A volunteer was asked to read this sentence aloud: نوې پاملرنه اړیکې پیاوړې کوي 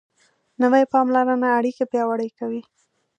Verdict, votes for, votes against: rejected, 1, 2